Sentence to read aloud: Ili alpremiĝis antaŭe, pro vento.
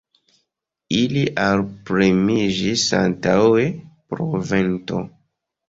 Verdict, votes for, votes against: rejected, 1, 2